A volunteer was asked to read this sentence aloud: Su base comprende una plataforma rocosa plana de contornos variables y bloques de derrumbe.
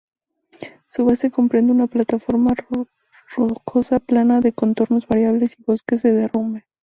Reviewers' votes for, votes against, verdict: 0, 2, rejected